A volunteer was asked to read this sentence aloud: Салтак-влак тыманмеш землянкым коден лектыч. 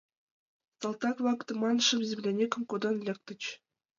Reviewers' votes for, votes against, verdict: 1, 2, rejected